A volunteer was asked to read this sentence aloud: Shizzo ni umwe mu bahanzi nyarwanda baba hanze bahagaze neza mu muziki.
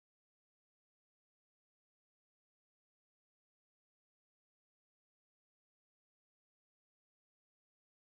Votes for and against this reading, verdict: 0, 2, rejected